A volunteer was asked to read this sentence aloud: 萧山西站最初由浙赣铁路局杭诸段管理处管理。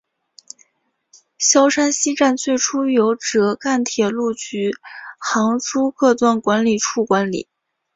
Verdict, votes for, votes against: accepted, 2, 1